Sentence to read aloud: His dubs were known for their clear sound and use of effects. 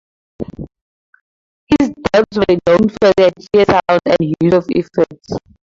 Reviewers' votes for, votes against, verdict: 2, 4, rejected